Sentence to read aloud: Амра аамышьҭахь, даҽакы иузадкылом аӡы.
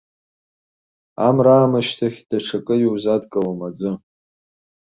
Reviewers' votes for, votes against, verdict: 2, 0, accepted